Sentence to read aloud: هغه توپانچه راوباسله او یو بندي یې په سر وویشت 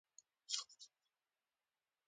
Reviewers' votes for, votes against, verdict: 0, 2, rejected